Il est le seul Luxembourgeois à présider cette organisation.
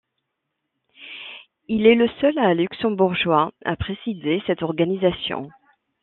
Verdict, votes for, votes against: accepted, 2, 0